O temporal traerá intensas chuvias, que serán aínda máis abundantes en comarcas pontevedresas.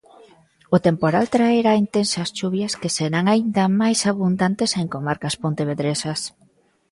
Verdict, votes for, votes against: accepted, 2, 0